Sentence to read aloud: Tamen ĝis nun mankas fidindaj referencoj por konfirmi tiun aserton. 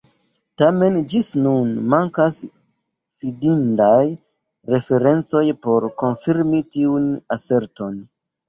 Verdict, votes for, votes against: accepted, 2, 1